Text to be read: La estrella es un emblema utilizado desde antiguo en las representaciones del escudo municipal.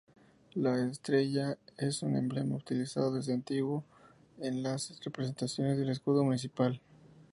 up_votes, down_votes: 2, 0